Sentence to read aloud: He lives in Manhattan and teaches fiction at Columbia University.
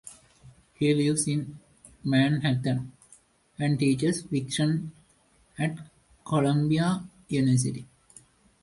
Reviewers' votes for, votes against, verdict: 2, 0, accepted